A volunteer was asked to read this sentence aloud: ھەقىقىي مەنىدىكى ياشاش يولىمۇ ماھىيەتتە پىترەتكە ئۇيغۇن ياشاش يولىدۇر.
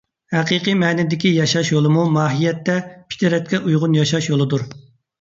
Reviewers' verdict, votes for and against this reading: accepted, 2, 0